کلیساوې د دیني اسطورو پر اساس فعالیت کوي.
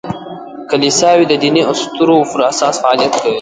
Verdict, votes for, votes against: rejected, 0, 2